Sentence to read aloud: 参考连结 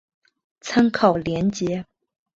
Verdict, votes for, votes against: accepted, 3, 0